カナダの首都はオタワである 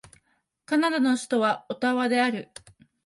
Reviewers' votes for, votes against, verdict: 2, 0, accepted